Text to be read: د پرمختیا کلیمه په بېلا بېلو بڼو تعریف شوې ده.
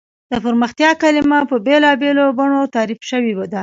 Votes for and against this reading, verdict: 2, 1, accepted